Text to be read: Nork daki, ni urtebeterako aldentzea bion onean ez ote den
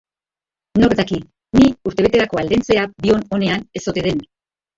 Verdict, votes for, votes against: rejected, 1, 4